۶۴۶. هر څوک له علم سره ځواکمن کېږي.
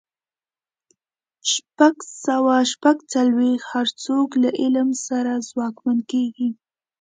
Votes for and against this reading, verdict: 0, 2, rejected